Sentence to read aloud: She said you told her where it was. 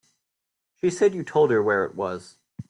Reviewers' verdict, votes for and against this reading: rejected, 0, 2